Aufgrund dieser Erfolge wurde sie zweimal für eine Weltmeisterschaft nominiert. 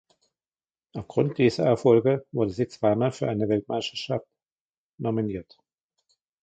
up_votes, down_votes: 2, 0